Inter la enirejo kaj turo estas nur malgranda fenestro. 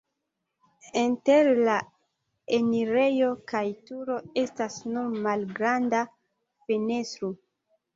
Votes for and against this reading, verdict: 0, 2, rejected